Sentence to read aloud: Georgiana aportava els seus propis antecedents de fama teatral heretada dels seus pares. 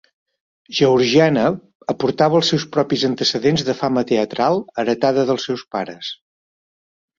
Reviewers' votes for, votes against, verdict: 3, 0, accepted